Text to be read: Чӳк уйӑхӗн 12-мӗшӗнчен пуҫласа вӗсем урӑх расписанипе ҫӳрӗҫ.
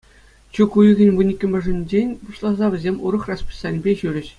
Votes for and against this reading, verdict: 0, 2, rejected